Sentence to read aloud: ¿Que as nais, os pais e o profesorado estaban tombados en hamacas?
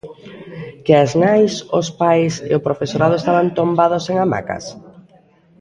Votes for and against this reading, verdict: 2, 0, accepted